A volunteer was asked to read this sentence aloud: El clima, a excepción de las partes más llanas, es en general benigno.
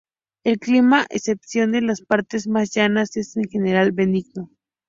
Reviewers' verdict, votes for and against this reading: rejected, 0, 2